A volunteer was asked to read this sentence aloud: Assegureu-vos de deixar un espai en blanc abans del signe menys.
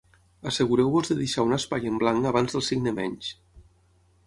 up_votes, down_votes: 6, 3